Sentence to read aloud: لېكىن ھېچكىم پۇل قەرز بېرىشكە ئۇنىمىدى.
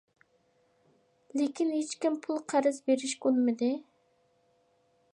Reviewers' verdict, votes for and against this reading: accepted, 2, 0